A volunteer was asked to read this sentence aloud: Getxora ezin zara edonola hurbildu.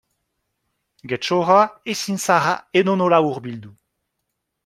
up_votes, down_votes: 2, 0